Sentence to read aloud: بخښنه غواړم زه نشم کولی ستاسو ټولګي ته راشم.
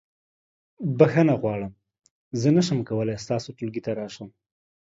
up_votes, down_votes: 2, 0